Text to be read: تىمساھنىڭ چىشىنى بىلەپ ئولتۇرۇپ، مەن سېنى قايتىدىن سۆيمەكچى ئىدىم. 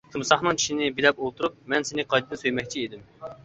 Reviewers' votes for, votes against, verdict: 2, 1, accepted